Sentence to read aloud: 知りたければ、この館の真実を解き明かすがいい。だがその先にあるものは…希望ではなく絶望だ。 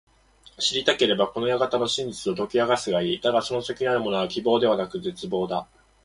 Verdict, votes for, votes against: accepted, 2, 0